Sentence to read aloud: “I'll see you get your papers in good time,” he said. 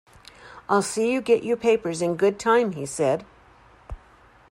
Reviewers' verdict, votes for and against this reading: accepted, 2, 0